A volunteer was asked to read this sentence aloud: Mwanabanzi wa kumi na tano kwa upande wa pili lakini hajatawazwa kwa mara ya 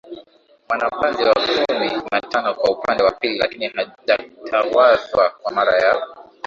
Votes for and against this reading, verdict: 4, 0, accepted